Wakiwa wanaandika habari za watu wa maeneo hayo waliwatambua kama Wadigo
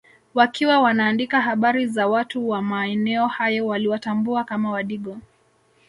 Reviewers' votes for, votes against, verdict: 1, 2, rejected